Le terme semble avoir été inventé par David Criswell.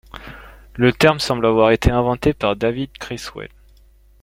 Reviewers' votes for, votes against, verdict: 2, 0, accepted